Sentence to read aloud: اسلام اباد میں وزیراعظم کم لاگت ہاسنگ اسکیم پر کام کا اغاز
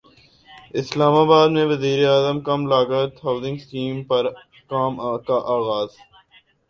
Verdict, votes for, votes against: accepted, 2, 0